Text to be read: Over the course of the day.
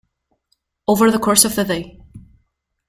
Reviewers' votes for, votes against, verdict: 1, 2, rejected